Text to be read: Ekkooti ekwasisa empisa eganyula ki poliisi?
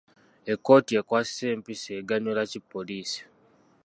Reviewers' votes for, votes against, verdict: 2, 1, accepted